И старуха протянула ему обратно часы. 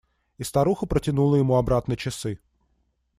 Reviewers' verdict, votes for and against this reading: accepted, 2, 0